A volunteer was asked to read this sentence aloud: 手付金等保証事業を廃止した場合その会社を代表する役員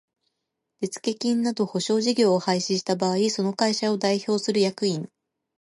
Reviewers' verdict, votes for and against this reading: accepted, 2, 0